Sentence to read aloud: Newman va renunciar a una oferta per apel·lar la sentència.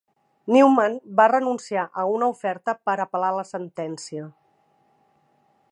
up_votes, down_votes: 3, 0